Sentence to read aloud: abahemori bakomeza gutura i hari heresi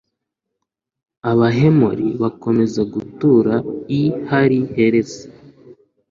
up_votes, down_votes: 2, 0